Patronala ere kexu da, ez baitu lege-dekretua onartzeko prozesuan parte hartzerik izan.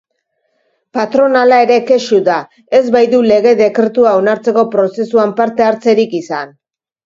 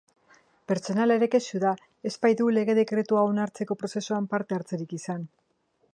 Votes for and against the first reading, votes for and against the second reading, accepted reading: 3, 1, 0, 2, first